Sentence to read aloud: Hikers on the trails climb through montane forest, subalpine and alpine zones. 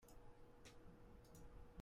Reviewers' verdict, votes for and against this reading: rejected, 0, 2